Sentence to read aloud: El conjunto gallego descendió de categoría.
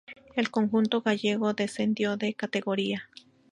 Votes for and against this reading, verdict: 2, 0, accepted